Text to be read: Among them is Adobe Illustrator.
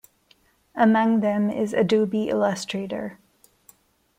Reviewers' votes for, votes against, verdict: 2, 0, accepted